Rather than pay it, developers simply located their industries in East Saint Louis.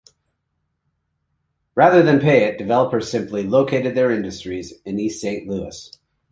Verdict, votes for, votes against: accepted, 2, 1